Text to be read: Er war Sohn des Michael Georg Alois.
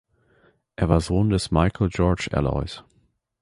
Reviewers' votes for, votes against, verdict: 2, 0, accepted